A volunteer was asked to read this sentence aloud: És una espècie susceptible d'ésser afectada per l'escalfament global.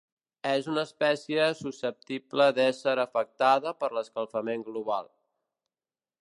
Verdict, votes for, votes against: accepted, 2, 0